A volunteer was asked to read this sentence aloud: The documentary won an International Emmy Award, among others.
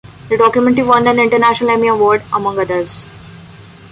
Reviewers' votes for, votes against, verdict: 2, 0, accepted